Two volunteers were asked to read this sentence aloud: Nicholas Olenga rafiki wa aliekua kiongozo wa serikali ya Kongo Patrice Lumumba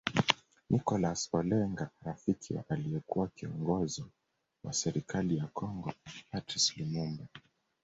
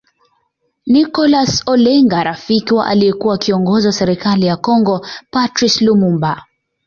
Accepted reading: second